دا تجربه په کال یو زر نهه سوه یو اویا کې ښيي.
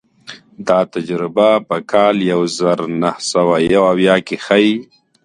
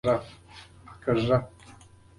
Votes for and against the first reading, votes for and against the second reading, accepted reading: 2, 0, 0, 2, first